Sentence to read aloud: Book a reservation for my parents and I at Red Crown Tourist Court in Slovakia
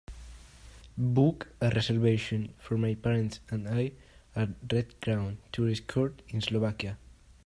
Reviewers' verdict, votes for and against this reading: accepted, 2, 1